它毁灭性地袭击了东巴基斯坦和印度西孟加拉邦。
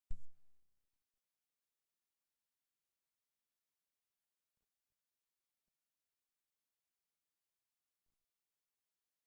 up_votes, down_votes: 0, 2